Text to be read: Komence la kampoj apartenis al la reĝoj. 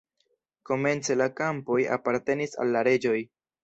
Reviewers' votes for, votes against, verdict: 1, 2, rejected